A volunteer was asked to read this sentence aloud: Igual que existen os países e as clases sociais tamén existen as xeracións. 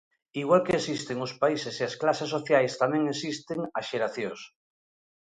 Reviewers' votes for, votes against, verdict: 2, 1, accepted